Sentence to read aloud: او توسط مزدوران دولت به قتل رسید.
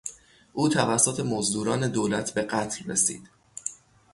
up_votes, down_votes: 3, 3